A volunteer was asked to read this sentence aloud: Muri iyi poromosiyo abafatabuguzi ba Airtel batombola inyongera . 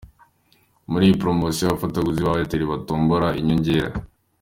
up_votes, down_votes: 2, 0